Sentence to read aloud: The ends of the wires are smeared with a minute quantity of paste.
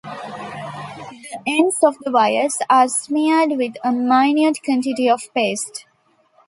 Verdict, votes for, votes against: accepted, 2, 1